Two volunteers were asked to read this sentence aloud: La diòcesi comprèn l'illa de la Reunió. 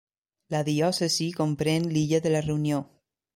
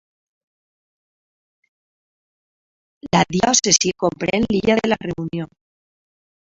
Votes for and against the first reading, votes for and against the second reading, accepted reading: 3, 0, 0, 2, first